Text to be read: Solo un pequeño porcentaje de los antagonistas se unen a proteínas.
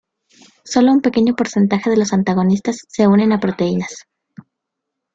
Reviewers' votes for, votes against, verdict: 2, 0, accepted